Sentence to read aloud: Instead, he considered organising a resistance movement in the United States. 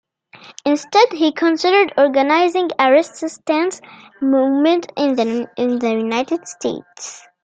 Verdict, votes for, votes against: accepted, 2, 0